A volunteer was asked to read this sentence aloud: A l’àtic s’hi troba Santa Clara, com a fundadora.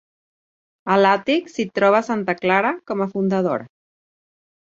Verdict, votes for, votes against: accepted, 3, 0